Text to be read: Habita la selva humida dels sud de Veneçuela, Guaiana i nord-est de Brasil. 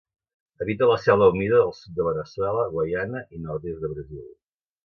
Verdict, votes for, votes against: rejected, 0, 2